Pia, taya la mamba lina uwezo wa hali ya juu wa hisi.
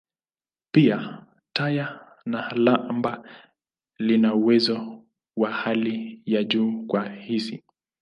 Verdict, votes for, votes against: rejected, 0, 2